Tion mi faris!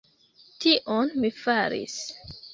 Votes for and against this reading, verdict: 2, 0, accepted